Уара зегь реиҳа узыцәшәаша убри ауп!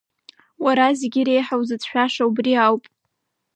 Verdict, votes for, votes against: accepted, 2, 0